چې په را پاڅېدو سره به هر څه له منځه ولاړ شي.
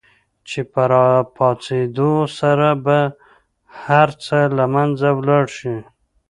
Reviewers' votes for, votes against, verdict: 2, 0, accepted